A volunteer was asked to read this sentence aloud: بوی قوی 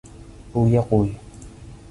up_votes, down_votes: 1, 2